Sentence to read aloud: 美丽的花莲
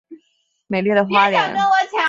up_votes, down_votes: 3, 2